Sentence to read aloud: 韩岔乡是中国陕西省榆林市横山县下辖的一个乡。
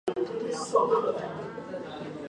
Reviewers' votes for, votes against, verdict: 0, 3, rejected